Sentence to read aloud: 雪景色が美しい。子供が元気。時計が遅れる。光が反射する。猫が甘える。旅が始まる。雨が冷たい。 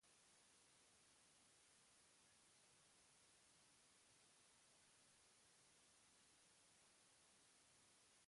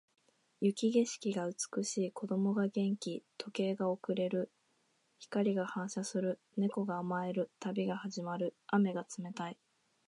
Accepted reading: second